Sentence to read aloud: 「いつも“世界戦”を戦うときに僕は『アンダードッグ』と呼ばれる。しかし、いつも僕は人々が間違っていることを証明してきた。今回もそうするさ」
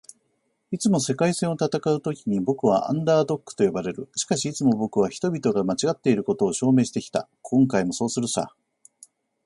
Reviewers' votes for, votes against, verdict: 2, 0, accepted